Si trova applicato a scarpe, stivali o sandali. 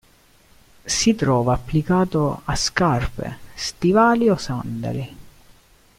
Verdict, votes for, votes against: accepted, 2, 0